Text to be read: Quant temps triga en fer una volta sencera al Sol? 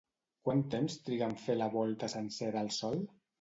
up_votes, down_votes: 1, 2